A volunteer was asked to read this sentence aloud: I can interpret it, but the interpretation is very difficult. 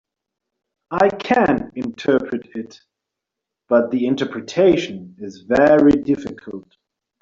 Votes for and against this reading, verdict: 2, 0, accepted